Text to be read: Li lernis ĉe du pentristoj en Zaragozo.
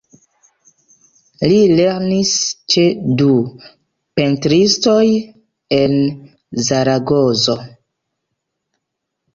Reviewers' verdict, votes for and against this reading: rejected, 0, 2